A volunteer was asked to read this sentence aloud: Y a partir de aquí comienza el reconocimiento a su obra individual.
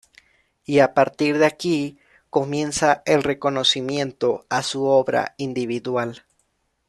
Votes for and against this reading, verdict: 2, 0, accepted